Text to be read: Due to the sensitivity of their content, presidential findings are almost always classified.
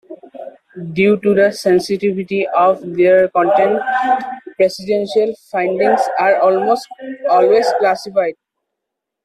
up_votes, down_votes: 0, 2